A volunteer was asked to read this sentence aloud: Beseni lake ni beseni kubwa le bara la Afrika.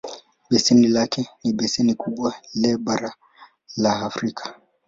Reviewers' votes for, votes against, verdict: 2, 0, accepted